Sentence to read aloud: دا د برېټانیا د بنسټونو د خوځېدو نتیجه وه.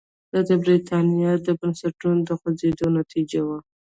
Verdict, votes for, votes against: accepted, 2, 1